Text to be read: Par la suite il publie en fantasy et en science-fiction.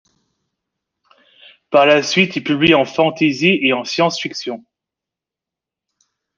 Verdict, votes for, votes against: accepted, 2, 0